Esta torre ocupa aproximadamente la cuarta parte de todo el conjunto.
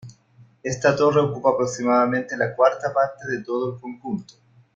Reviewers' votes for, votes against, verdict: 2, 0, accepted